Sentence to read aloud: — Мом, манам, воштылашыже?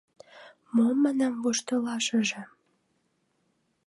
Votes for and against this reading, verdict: 2, 0, accepted